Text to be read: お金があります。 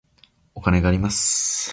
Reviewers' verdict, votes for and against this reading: accepted, 2, 0